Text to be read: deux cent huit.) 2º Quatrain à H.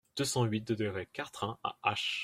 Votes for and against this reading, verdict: 0, 2, rejected